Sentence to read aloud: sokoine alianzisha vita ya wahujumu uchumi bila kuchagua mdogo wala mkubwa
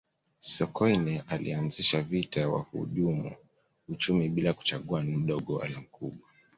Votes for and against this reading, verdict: 2, 0, accepted